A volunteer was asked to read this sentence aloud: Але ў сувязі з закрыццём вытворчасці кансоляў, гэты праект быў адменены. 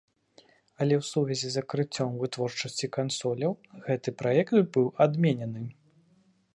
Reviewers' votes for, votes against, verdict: 1, 2, rejected